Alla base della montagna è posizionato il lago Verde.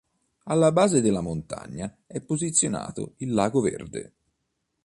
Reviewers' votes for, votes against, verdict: 2, 0, accepted